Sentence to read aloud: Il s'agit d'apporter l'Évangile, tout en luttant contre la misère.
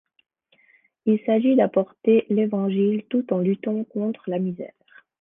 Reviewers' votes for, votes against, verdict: 2, 0, accepted